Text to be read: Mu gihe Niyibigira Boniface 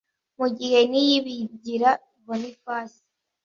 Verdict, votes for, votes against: accepted, 2, 0